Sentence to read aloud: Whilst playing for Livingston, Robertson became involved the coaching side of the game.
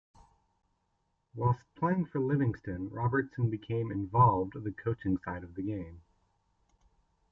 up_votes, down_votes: 2, 1